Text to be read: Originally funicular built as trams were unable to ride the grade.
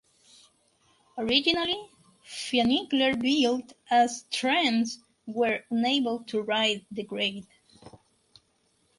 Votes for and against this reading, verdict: 2, 2, rejected